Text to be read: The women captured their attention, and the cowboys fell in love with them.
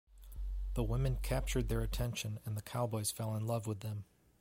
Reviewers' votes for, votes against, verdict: 2, 0, accepted